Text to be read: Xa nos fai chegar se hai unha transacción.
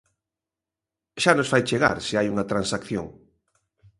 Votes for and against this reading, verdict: 2, 0, accepted